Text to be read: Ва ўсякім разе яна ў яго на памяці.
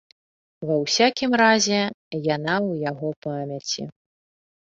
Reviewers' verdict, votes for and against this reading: rejected, 1, 2